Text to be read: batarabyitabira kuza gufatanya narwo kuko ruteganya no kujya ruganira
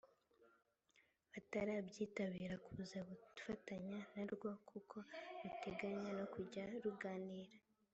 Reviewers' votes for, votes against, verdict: 2, 0, accepted